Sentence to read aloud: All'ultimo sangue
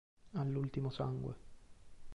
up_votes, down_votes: 1, 2